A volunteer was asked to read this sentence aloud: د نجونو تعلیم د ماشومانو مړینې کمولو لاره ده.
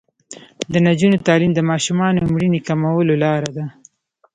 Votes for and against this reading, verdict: 2, 0, accepted